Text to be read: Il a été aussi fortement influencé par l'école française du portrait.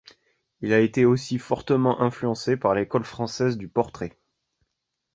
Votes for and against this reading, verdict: 2, 0, accepted